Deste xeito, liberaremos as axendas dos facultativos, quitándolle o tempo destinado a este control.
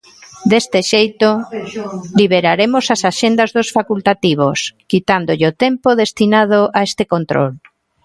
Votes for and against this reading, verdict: 1, 2, rejected